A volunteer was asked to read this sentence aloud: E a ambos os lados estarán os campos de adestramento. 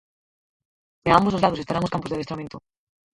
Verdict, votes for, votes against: rejected, 2, 4